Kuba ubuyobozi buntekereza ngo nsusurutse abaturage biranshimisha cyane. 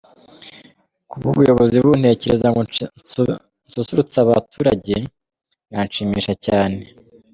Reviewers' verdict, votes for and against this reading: rejected, 1, 2